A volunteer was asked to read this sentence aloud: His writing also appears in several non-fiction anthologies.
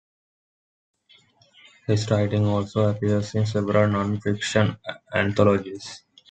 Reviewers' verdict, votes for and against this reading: rejected, 1, 2